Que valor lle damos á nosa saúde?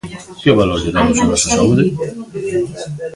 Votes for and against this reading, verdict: 1, 2, rejected